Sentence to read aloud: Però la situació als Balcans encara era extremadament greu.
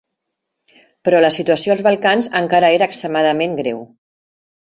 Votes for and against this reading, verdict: 2, 0, accepted